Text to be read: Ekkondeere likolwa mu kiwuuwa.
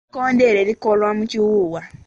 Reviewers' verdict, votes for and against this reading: rejected, 0, 2